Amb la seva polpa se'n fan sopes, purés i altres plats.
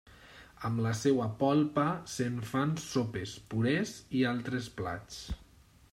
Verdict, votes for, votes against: rejected, 1, 2